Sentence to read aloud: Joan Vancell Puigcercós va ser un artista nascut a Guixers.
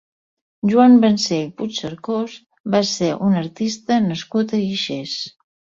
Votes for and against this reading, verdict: 2, 0, accepted